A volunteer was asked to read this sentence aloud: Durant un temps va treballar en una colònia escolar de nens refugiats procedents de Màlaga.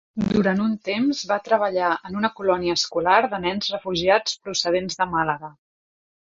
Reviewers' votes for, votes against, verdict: 2, 0, accepted